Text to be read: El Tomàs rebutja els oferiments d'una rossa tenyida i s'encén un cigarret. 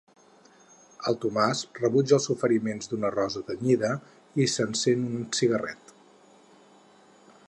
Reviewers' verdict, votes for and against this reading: accepted, 4, 0